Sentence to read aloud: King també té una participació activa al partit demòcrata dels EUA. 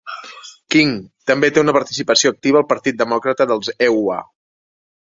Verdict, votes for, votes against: rejected, 1, 2